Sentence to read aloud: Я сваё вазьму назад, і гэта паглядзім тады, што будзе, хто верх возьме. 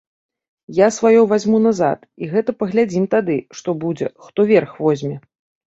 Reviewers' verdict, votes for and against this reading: accepted, 2, 0